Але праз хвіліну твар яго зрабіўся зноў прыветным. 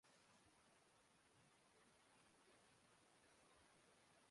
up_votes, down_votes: 0, 3